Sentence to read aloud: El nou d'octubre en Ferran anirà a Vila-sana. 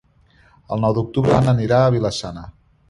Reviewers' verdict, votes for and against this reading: rejected, 0, 2